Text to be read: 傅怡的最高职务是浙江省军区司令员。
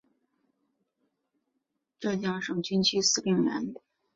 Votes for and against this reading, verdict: 1, 4, rejected